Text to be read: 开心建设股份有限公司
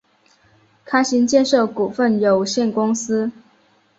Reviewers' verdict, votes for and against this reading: accepted, 3, 0